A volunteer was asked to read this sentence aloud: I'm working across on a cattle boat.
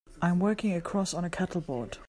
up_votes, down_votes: 2, 0